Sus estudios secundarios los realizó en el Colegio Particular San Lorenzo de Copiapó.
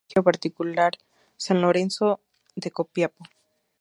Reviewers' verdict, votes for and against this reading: rejected, 0, 2